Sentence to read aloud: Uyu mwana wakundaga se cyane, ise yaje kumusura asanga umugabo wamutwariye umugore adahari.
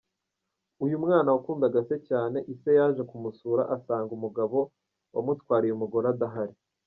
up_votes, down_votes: 1, 2